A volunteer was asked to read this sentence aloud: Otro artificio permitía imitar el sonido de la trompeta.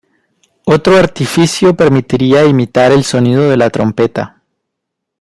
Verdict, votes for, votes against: rejected, 1, 2